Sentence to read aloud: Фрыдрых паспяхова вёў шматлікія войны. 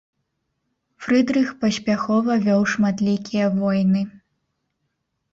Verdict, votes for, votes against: accepted, 3, 0